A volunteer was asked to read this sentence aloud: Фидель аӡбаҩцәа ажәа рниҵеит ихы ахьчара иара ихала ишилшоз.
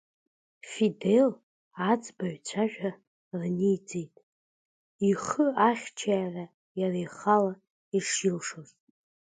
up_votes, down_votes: 3, 2